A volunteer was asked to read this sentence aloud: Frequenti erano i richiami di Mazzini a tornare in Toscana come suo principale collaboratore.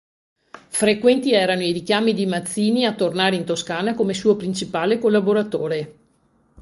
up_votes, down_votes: 2, 0